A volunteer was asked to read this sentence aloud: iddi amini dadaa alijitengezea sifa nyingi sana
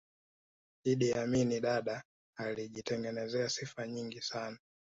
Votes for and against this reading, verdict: 2, 0, accepted